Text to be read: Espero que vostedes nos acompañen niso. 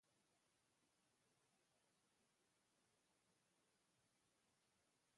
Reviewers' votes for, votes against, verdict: 0, 2, rejected